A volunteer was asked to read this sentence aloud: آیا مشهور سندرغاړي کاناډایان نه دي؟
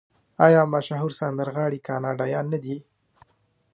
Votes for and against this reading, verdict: 0, 2, rejected